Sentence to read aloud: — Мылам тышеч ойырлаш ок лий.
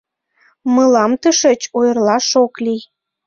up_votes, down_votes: 2, 1